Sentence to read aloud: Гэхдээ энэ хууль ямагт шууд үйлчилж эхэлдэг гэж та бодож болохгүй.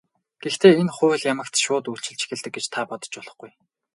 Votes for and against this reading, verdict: 4, 0, accepted